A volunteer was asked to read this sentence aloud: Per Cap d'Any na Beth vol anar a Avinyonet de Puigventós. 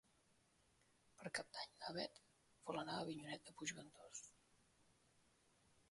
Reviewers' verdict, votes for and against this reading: rejected, 1, 2